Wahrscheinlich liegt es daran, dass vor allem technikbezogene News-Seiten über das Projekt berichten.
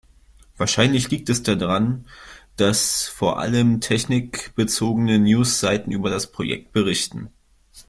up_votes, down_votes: 0, 2